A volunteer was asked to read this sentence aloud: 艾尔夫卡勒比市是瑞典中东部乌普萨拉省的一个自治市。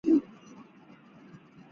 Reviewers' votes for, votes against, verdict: 1, 3, rejected